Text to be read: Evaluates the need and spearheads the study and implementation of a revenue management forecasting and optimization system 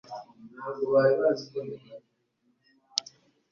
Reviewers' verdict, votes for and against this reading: rejected, 1, 2